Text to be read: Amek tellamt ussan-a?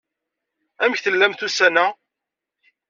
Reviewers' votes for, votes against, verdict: 2, 0, accepted